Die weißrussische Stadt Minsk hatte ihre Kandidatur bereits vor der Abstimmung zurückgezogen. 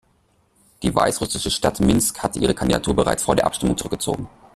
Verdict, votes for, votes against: rejected, 0, 2